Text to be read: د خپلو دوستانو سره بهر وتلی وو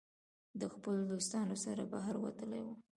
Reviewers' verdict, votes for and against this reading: accepted, 2, 1